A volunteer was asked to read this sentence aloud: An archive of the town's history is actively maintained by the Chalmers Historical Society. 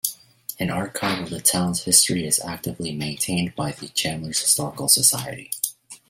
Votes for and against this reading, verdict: 1, 2, rejected